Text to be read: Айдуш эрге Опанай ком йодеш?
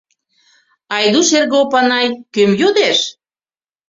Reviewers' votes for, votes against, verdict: 0, 2, rejected